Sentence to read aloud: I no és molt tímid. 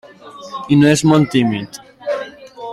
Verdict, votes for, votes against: accepted, 2, 1